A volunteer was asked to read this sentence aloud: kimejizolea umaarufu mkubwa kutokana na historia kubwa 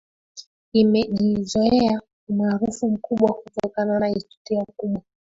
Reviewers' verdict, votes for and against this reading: accepted, 3, 2